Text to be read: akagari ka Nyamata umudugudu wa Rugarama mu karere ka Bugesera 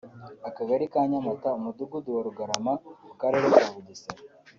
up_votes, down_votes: 2, 0